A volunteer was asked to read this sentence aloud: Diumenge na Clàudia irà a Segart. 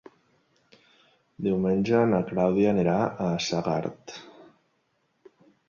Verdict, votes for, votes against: rejected, 0, 2